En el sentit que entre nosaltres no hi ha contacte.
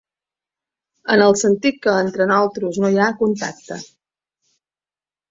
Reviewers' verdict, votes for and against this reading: rejected, 0, 2